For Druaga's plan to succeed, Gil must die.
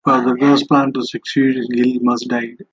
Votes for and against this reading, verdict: 2, 1, accepted